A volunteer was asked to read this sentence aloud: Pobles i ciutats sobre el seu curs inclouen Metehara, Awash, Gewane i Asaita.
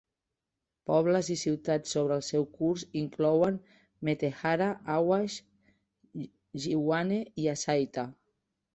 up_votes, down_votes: 1, 2